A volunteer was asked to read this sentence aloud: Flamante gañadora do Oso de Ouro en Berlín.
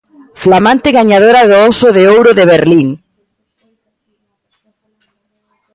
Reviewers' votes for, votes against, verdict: 0, 2, rejected